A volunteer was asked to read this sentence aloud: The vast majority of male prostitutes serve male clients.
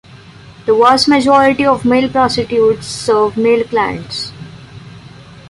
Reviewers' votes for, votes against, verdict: 2, 0, accepted